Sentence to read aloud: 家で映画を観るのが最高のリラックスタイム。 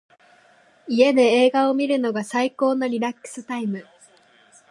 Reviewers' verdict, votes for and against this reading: accepted, 2, 0